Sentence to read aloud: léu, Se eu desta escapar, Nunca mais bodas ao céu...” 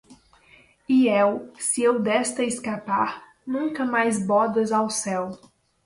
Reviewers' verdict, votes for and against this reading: rejected, 0, 2